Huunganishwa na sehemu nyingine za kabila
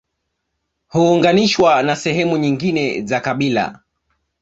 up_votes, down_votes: 2, 1